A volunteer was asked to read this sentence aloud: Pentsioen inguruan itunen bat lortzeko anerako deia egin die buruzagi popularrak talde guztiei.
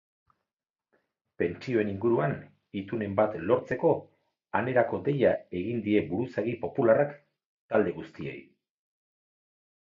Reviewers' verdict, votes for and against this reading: accepted, 4, 0